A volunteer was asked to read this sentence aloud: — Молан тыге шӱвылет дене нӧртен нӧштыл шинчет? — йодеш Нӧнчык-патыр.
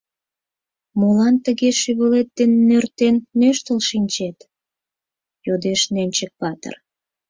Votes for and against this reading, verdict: 4, 0, accepted